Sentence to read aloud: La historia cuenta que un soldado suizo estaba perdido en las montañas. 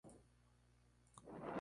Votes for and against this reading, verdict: 0, 2, rejected